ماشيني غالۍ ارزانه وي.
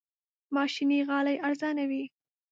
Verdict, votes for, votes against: accepted, 2, 0